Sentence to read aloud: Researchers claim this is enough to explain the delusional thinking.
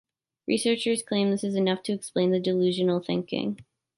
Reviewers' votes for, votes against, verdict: 2, 0, accepted